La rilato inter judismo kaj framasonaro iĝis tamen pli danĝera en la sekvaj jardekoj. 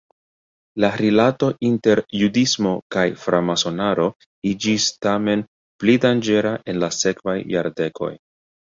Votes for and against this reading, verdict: 1, 2, rejected